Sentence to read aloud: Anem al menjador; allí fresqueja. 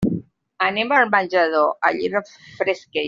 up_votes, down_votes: 1, 2